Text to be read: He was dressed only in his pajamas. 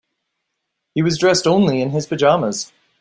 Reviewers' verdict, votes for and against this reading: accepted, 2, 0